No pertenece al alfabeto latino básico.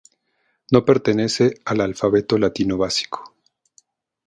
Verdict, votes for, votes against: accepted, 2, 0